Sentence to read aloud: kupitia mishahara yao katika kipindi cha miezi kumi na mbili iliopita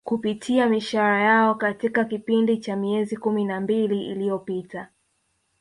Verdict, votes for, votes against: accepted, 2, 0